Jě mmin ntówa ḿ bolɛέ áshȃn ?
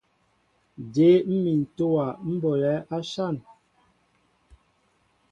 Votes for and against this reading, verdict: 2, 0, accepted